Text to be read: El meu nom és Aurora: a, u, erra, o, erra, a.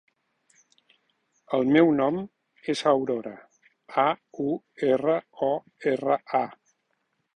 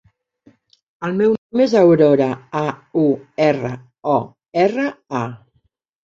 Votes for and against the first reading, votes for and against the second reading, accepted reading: 2, 0, 1, 2, first